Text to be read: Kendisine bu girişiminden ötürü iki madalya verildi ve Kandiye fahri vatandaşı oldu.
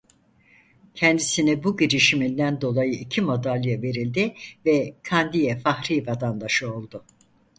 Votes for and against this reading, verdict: 2, 4, rejected